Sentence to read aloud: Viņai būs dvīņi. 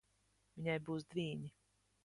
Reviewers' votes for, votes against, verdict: 1, 2, rejected